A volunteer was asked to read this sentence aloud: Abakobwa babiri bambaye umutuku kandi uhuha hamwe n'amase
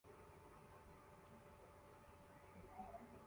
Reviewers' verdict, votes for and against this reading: rejected, 0, 2